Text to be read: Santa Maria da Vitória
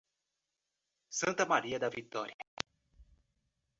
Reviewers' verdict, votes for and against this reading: rejected, 0, 2